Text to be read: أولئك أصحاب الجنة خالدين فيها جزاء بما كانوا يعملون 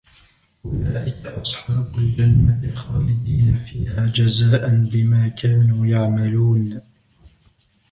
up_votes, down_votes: 1, 2